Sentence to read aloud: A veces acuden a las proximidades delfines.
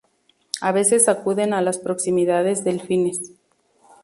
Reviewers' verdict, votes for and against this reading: accepted, 2, 0